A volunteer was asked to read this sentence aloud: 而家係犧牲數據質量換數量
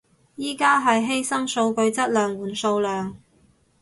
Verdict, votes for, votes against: rejected, 2, 2